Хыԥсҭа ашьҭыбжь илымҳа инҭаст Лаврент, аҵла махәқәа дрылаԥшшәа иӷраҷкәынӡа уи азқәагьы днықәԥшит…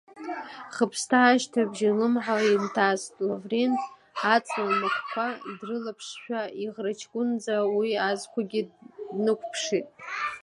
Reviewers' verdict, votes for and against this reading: rejected, 0, 2